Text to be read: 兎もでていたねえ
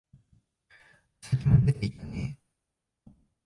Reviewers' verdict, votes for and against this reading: rejected, 0, 2